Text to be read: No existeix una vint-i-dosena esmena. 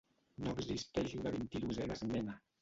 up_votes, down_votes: 0, 2